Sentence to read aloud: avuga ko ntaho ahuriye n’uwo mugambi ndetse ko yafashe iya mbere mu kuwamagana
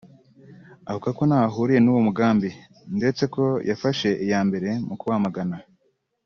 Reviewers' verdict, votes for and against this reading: accepted, 2, 0